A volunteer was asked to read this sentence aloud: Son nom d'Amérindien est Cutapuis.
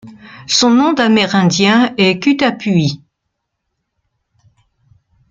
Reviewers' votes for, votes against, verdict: 2, 0, accepted